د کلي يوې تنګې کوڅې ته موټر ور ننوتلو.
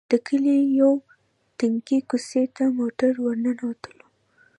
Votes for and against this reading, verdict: 2, 0, accepted